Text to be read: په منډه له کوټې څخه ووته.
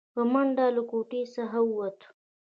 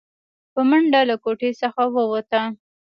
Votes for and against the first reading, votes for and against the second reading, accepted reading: 2, 1, 1, 2, first